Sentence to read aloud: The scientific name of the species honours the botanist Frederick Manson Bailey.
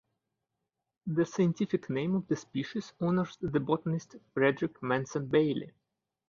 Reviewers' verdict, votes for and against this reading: accepted, 3, 0